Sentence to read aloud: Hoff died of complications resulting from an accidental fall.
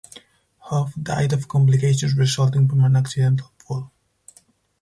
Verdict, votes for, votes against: rejected, 2, 2